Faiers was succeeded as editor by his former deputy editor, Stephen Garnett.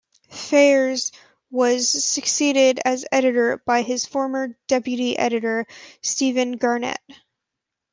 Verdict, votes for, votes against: accepted, 2, 0